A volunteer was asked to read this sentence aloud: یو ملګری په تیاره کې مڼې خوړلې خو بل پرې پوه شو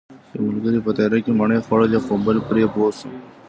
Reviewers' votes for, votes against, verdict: 0, 2, rejected